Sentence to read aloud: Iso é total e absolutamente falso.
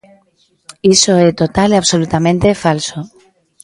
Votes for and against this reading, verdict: 2, 0, accepted